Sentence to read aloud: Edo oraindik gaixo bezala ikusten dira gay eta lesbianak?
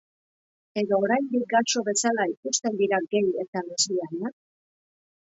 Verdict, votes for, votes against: rejected, 1, 2